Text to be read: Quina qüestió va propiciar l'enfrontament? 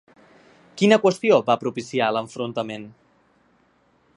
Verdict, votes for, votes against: accepted, 2, 0